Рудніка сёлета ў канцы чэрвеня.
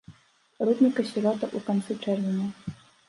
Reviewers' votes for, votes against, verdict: 0, 2, rejected